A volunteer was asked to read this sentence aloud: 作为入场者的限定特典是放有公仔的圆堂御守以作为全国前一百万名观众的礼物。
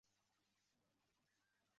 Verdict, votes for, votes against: rejected, 0, 2